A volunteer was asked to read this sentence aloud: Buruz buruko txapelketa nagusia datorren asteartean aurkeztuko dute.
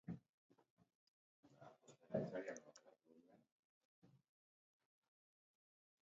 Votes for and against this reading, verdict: 0, 6, rejected